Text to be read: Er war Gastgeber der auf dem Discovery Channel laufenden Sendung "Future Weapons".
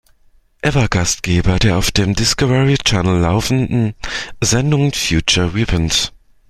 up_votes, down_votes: 0, 2